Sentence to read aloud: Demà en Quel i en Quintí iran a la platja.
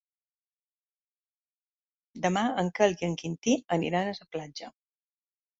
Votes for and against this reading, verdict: 0, 2, rejected